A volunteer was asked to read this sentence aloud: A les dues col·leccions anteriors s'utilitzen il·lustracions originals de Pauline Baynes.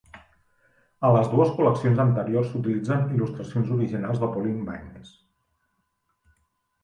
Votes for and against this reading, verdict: 3, 1, accepted